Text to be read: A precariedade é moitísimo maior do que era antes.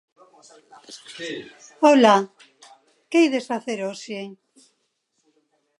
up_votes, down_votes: 0, 2